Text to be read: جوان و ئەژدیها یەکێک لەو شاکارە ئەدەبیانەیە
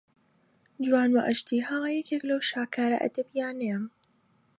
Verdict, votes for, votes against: accepted, 2, 0